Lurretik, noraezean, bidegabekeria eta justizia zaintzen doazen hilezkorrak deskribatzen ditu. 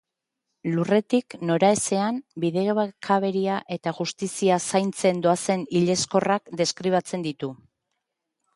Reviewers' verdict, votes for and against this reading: rejected, 0, 2